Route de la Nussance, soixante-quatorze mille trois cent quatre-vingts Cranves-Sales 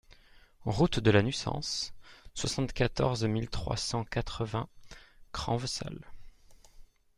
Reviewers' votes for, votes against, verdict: 2, 0, accepted